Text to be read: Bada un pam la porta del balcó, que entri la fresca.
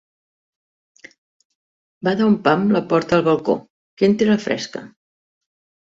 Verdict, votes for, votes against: accepted, 2, 0